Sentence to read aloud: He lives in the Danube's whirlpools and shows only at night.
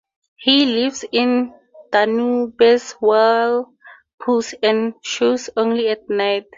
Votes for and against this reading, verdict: 2, 12, rejected